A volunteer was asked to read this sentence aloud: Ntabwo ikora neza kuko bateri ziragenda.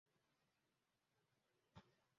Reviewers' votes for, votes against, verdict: 0, 2, rejected